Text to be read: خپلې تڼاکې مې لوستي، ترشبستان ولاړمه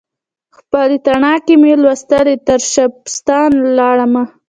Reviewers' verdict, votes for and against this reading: rejected, 0, 2